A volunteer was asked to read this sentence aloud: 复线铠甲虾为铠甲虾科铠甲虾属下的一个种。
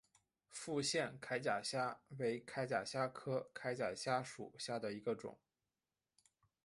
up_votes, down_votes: 2, 0